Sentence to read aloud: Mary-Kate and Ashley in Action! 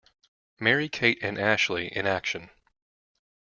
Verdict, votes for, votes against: accepted, 2, 0